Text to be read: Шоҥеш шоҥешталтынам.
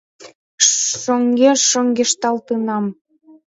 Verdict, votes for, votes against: rejected, 0, 2